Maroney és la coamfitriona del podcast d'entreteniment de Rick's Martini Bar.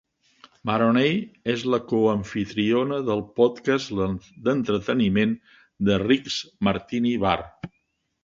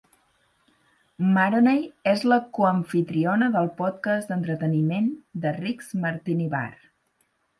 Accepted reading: second